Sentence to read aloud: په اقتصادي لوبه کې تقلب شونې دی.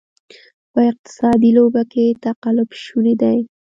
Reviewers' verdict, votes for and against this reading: accepted, 2, 0